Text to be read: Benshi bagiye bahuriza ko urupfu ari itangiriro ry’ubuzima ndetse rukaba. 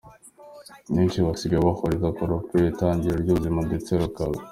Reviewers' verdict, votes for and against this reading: rejected, 1, 2